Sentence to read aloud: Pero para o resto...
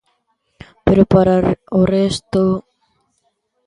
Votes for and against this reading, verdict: 0, 2, rejected